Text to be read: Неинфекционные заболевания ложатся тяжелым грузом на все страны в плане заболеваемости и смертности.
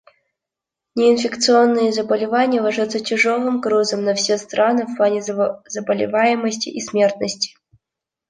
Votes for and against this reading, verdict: 0, 2, rejected